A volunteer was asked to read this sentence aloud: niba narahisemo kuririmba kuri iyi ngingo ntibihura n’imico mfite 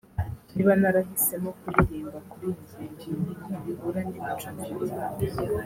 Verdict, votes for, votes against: rejected, 0, 2